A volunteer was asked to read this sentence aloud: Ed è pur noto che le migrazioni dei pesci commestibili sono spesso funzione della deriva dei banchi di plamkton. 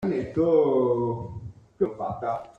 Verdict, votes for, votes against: rejected, 0, 2